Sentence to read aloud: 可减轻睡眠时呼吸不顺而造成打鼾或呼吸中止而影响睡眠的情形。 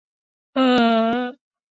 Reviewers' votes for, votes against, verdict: 1, 3, rejected